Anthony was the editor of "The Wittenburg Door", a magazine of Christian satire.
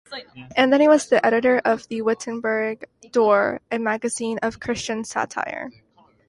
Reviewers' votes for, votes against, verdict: 2, 0, accepted